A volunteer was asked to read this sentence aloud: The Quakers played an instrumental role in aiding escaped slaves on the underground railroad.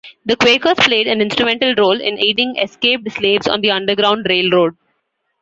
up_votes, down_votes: 2, 1